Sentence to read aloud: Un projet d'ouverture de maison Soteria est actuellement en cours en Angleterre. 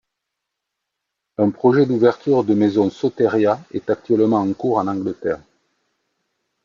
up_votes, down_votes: 2, 0